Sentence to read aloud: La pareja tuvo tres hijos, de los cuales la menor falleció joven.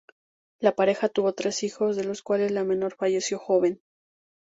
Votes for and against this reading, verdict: 2, 0, accepted